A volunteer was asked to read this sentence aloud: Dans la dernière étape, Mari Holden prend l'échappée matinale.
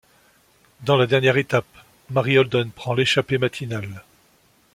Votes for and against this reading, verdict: 2, 0, accepted